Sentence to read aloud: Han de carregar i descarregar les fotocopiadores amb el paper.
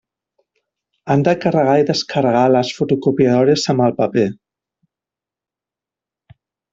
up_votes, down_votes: 3, 0